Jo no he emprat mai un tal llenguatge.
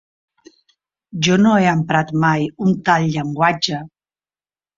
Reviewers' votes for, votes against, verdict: 2, 0, accepted